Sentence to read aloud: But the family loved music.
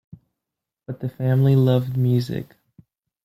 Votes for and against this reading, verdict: 2, 1, accepted